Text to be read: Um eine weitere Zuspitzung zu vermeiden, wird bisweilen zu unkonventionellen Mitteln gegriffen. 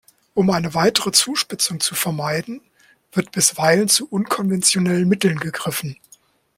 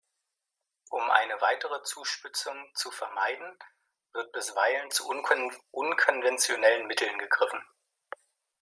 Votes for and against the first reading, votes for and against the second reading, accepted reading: 2, 0, 0, 2, first